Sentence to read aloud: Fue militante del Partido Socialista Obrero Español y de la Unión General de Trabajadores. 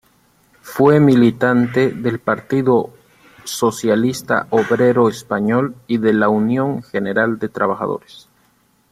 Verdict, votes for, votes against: rejected, 1, 2